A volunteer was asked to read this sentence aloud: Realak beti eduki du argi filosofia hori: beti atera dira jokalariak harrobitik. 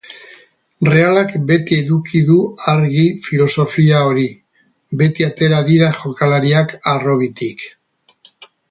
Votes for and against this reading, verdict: 6, 0, accepted